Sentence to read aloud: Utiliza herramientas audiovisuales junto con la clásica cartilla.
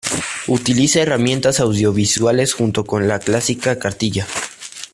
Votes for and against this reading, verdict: 2, 0, accepted